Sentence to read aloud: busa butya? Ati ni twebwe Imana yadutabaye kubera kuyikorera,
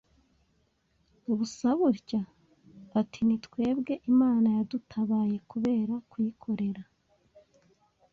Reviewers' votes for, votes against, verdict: 2, 0, accepted